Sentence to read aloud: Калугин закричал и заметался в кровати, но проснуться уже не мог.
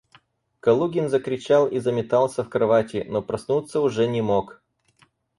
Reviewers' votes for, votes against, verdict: 4, 0, accepted